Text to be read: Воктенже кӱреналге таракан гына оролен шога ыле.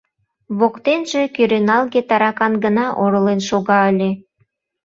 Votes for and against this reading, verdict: 2, 0, accepted